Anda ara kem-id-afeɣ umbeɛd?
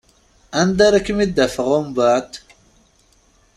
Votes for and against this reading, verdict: 2, 0, accepted